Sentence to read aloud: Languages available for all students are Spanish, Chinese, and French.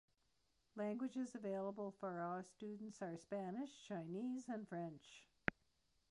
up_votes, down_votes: 2, 1